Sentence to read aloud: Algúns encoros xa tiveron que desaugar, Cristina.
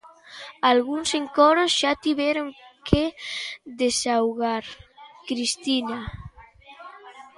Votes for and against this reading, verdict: 2, 0, accepted